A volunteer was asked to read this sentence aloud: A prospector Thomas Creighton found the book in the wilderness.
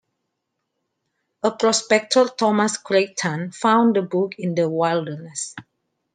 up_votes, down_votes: 2, 1